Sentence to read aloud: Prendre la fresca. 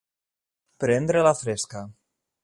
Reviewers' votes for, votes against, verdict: 2, 0, accepted